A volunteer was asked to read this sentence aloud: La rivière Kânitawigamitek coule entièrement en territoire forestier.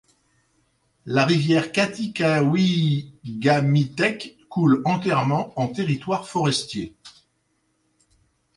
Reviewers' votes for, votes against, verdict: 1, 2, rejected